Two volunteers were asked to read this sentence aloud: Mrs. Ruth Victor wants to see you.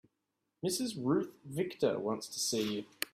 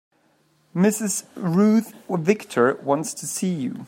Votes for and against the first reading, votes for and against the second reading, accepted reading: 2, 0, 1, 2, first